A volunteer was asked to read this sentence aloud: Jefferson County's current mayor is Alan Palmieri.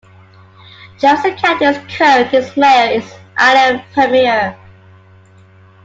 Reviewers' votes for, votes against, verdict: 1, 2, rejected